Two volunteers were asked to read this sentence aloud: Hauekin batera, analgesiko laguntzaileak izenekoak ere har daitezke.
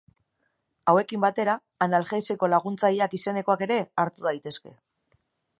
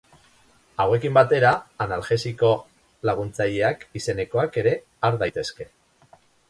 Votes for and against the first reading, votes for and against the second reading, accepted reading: 2, 3, 2, 0, second